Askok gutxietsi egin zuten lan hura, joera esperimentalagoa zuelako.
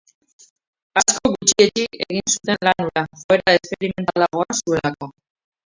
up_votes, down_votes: 0, 2